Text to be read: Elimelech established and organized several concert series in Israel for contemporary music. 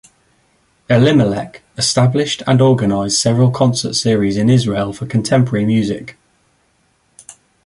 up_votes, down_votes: 2, 0